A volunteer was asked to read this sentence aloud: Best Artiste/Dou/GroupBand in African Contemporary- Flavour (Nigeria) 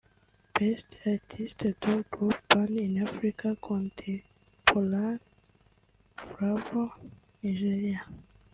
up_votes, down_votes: 0, 2